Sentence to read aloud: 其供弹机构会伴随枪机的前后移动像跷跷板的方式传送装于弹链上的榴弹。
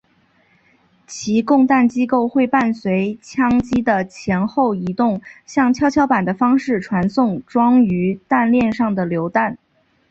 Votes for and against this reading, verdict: 4, 0, accepted